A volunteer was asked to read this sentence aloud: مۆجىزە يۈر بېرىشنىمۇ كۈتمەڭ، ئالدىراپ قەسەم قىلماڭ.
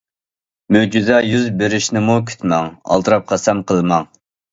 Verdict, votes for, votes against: accepted, 2, 0